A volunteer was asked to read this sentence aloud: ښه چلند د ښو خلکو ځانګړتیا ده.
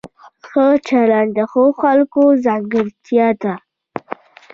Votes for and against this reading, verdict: 2, 0, accepted